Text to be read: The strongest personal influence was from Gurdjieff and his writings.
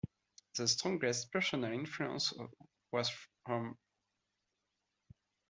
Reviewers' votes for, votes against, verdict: 0, 2, rejected